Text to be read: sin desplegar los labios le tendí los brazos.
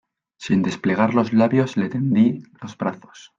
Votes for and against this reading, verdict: 2, 0, accepted